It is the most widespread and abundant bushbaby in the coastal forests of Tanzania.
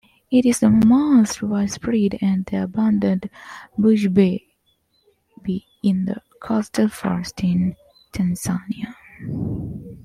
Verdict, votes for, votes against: rejected, 1, 2